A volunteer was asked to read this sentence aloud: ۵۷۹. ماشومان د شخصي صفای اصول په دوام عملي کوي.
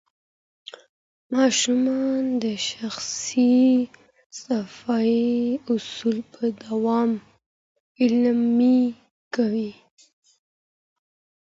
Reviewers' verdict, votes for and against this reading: rejected, 0, 2